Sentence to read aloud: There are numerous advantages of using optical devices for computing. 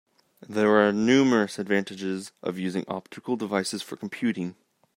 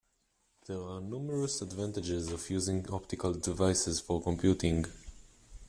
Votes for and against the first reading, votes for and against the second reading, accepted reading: 1, 2, 2, 0, second